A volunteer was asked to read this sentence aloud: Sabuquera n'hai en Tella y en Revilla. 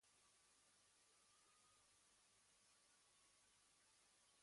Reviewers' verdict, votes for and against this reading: rejected, 1, 2